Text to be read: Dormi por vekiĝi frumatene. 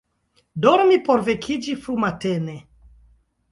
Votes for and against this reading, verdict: 2, 0, accepted